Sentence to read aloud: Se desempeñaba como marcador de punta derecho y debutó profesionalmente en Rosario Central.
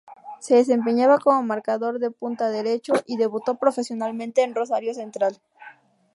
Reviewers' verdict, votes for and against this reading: rejected, 0, 2